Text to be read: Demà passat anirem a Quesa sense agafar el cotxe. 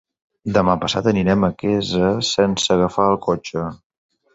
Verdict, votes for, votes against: accepted, 3, 0